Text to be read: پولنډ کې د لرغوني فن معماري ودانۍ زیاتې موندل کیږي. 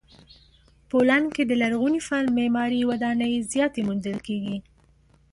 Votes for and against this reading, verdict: 2, 0, accepted